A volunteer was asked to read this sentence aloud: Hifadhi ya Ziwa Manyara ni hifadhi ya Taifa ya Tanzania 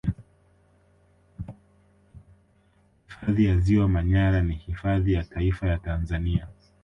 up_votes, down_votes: 1, 2